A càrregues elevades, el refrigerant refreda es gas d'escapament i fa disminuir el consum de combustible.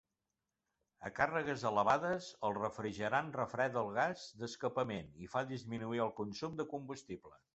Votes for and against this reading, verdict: 0, 2, rejected